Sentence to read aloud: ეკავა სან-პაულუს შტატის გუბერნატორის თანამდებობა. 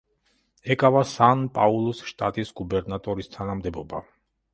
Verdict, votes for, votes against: accepted, 2, 0